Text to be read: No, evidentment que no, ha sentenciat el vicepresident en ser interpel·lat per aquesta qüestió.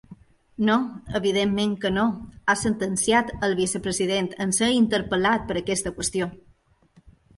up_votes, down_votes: 2, 0